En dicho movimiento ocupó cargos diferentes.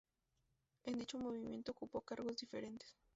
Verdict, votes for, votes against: rejected, 0, 2